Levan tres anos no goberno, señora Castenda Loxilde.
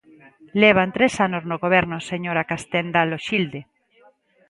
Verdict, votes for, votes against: accepted, 2, 0